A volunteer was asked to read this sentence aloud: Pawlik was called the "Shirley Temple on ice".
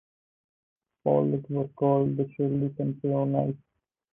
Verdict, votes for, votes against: rejected, 2, 2